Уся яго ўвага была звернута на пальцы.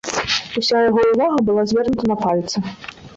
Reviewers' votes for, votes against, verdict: 1, 2, rejected